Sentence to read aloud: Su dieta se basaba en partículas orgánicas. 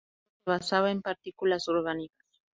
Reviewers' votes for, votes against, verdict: 0, 2, rejected